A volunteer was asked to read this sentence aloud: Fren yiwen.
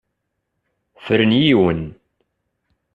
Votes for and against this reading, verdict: 2, 0, accepted